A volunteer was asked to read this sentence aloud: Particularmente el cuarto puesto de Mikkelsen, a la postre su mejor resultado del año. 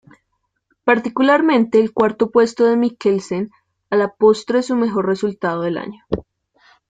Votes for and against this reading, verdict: 2, 0, accepted